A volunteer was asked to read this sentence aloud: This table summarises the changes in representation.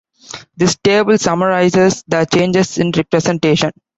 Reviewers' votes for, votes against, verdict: 2, 0, accepted